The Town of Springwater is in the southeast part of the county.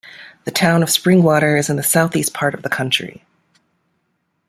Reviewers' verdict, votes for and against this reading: rejected, 1, 2